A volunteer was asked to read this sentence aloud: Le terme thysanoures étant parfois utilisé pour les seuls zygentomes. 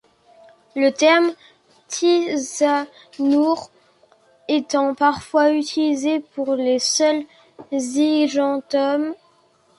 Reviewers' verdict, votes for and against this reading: accepted, 2, 1